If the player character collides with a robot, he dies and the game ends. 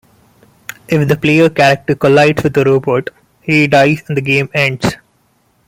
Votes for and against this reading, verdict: 2, 0, accepted